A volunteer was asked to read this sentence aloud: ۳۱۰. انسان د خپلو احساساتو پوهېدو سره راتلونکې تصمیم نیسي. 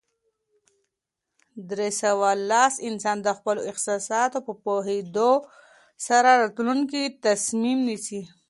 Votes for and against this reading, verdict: 0, 2, rejected